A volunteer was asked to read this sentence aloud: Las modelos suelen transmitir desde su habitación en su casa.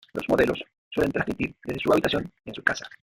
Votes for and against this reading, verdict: 0, 2, rejected